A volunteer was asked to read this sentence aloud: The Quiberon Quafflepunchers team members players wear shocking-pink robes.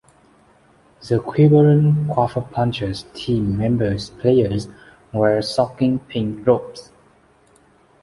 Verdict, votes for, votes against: accepted, 2, 0